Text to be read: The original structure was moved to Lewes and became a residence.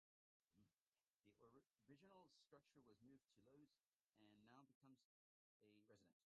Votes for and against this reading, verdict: 0, 2, rejected